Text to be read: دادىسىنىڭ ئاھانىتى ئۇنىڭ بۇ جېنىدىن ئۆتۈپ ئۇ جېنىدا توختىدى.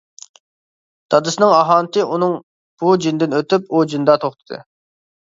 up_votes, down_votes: 2, 0